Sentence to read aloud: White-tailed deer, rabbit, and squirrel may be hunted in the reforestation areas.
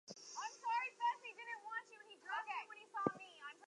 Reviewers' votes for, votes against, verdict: 0, 2, rejected